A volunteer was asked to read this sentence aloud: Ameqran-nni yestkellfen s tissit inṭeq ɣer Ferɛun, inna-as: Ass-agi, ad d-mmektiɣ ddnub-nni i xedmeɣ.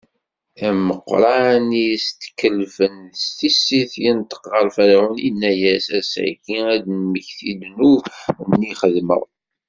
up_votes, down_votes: 0, 2